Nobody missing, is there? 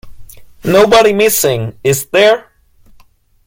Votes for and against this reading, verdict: 2, 0, accepted